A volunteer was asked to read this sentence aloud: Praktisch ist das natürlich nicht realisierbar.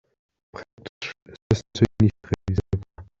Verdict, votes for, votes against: rejected, 0, 2